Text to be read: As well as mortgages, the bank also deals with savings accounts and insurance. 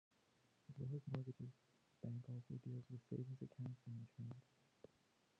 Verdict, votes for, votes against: rejected, 0, 2